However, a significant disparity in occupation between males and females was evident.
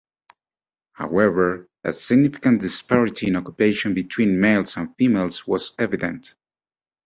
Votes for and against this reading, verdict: 2, 1, accepted